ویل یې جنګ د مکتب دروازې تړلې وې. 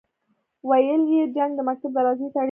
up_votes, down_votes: 0, 2